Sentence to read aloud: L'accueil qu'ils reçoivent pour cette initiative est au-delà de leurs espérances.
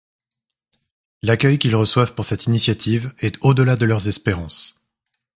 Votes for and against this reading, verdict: 2, 0, accepted